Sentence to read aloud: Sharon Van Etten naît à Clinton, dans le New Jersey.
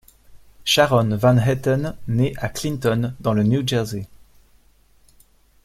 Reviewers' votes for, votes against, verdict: 2, 0, accepted